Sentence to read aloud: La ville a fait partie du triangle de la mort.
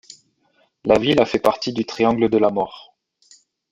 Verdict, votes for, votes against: accepted, 2, 0